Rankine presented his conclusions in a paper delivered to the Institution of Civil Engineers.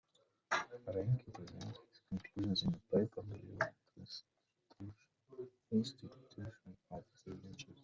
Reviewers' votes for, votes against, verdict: 1, 2, rejected